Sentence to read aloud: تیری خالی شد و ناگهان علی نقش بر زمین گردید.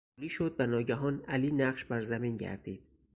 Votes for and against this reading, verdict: 2, 4, rejected